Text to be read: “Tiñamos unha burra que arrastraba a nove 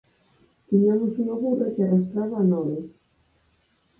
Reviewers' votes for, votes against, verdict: 4, 0, accepted